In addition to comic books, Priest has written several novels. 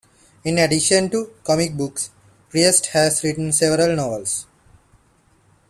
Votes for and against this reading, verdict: 2, 0, accepted